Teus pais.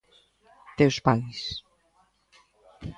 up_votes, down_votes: 1, 2